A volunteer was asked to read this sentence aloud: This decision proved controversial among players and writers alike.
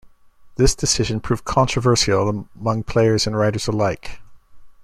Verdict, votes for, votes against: rejected, 1, 2